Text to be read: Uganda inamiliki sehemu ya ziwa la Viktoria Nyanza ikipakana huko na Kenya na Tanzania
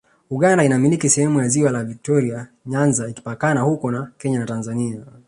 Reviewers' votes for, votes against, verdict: 2, 3, rejected